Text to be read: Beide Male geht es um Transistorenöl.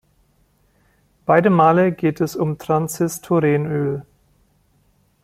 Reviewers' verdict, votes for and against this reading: rejected, 0, 2